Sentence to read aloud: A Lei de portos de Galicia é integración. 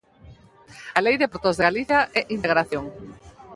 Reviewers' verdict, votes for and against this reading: rejected, 0, 2